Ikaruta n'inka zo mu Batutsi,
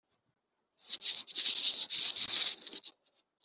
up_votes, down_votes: 1, 3